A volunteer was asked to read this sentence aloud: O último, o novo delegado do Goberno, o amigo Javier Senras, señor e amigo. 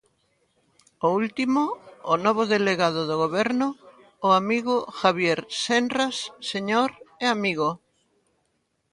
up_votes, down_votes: 1, 2